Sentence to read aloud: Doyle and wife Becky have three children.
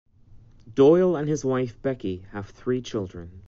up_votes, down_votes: 1, 2